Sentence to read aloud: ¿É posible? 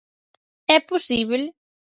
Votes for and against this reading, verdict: 0, 4, rejected